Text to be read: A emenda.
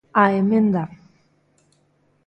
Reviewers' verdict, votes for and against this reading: accepted, 2, 0